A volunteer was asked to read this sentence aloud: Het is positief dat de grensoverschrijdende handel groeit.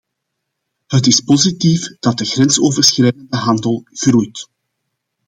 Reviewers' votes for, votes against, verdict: 2, 0, accepted